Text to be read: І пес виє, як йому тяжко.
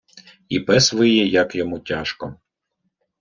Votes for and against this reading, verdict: 2, 0, accepted